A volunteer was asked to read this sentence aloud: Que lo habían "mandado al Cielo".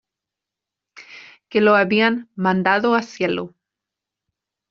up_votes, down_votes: 1, 2